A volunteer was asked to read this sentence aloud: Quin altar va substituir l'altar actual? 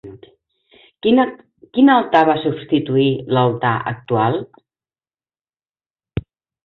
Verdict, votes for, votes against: rejected, 0, 2